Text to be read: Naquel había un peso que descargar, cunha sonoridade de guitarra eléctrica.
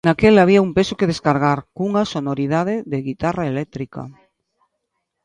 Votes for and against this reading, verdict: 2, 0, accepted